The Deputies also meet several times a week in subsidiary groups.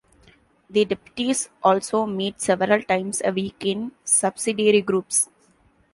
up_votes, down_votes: 2, 1